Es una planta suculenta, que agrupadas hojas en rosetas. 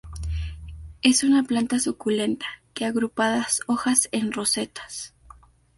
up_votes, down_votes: 2, 0